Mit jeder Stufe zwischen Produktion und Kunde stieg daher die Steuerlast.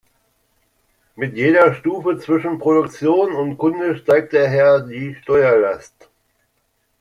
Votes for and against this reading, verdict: 1, 2, rejected